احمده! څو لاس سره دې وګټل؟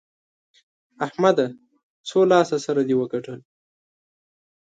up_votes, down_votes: 3, 0